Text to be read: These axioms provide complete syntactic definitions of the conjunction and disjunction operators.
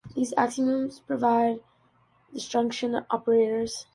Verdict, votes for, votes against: rejected, 1, 2